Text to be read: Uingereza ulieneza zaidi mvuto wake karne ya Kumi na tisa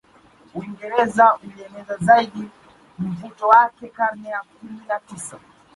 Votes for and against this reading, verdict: 0, 2, rejected